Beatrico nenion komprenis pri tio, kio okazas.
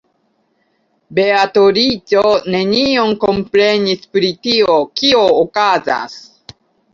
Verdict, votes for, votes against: rejected, 0, 2